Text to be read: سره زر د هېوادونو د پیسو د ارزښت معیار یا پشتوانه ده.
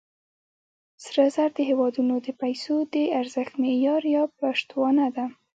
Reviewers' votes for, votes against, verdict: 1, 2, rejected